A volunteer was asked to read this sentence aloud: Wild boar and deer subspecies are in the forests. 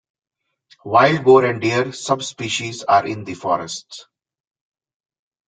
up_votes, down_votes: 2, 0